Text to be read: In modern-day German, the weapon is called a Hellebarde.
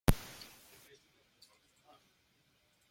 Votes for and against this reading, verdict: 0, 2, rejected